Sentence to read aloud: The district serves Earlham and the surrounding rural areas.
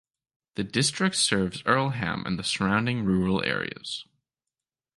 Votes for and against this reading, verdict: 2, 0, accepted